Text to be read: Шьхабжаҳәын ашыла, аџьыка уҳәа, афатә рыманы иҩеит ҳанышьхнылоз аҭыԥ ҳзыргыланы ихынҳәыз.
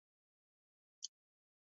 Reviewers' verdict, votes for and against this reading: rejected, 0, 2